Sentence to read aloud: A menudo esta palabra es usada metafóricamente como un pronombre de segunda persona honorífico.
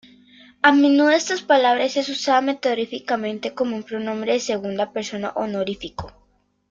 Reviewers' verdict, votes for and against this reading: rejected, 1, 2